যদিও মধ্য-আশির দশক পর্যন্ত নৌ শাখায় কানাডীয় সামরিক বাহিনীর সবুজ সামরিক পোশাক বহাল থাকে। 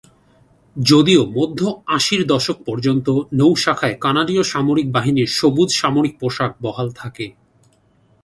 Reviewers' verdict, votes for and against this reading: accepted, 2, 0